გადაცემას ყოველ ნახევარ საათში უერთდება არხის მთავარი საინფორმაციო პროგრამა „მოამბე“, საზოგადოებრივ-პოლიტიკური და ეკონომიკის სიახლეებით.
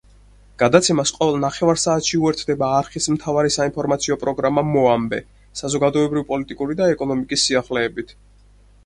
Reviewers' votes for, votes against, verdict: 4, 2, accepted